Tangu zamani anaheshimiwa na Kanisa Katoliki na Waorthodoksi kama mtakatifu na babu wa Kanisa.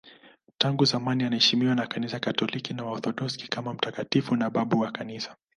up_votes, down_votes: 2, 0